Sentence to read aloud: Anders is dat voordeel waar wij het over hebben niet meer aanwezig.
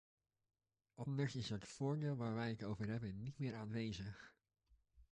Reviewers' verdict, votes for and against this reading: rejected, 1, 2